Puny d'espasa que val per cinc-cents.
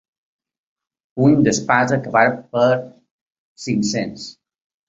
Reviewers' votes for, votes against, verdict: 3, 1, accepted